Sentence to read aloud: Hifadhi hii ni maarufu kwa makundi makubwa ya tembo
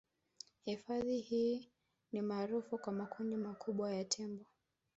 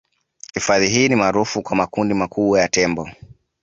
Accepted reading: second